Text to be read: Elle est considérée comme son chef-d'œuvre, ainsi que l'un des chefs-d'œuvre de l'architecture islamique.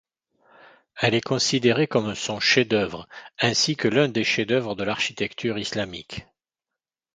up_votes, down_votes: 2, 4